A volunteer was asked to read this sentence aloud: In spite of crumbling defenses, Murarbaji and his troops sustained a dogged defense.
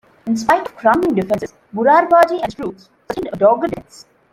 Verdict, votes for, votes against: rejected, 0, 2